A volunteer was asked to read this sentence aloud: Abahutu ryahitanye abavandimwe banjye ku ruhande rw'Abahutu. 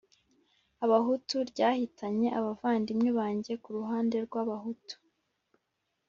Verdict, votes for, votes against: accepted, 2, 0